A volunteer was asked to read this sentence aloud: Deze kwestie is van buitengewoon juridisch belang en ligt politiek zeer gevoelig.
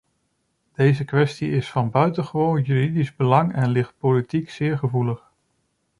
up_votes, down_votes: 2, 0